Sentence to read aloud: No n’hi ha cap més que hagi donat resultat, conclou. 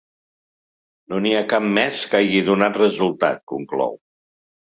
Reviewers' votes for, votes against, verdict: 2, 1, accepted